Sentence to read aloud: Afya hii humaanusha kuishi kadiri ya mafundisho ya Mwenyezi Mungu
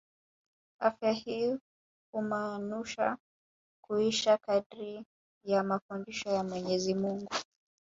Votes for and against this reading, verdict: 2, 0, accepted